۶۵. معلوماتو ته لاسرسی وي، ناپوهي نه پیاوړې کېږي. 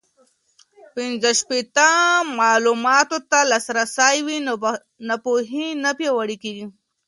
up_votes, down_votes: 0, 2